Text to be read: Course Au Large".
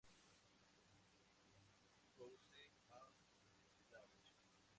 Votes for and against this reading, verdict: 2, 4, rejected